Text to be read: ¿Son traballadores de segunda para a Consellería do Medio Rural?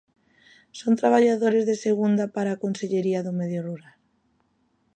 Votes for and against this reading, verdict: 2, 0, accepted